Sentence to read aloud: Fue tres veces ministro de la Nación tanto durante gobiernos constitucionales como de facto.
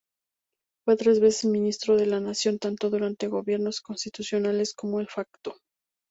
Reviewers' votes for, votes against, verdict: 4, 0, accepted